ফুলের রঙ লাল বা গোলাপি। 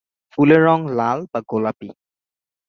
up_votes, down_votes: 10, 0